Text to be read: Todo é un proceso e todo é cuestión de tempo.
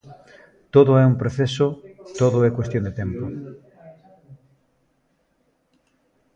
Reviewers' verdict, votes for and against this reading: rejected, 1, 2